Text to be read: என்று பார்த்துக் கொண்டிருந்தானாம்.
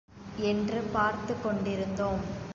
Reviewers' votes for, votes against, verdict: 1, 2, rejected